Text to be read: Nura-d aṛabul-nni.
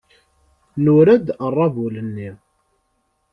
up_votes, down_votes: 2, 0